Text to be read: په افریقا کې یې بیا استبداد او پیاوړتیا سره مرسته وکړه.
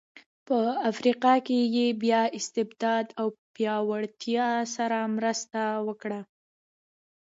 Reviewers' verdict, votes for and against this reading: accepted, 2, 1